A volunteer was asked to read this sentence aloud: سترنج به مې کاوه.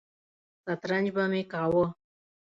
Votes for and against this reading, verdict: 2, 0, accepted